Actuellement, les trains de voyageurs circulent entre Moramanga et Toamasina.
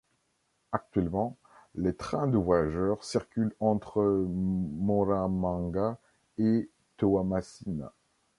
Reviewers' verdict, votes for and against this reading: rejected, 2, 3